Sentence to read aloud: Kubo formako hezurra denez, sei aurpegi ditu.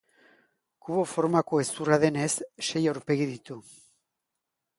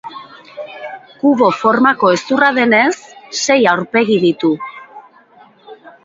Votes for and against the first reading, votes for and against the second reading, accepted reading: 3, 0, 1, 2, first